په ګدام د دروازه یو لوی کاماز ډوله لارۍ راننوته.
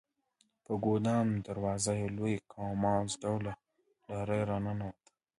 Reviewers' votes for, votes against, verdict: 2, 1, accepted